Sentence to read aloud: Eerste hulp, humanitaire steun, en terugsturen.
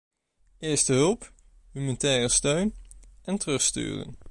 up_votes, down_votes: 1, 2